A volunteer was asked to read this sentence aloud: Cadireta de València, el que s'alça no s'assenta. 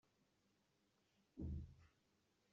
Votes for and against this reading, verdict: 0, 2, rejected